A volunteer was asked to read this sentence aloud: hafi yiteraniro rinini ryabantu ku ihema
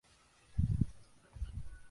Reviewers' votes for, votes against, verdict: 0, 2, rejected